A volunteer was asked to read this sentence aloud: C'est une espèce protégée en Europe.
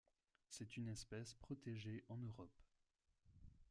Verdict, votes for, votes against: accepted, 2, 1